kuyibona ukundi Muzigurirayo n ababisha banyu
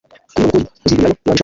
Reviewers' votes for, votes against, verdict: 0, 2, rejected